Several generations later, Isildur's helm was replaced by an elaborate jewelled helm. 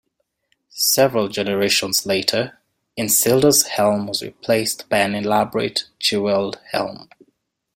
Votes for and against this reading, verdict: 2, 0, accepted